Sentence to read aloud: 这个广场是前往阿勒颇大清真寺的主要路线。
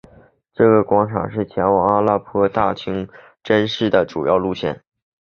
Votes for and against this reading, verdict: 3, 0, accepted